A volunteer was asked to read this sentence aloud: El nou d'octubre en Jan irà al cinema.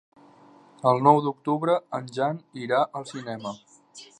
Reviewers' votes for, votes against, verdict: 3, 0, accepted